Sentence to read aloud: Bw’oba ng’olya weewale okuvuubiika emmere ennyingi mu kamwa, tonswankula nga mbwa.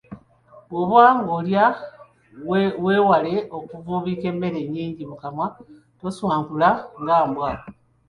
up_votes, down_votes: 1, 2